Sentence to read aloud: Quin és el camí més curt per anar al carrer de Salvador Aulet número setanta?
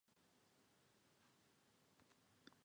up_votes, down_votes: 0, 2